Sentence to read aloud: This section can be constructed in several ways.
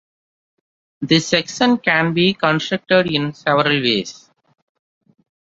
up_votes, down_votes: 2, 0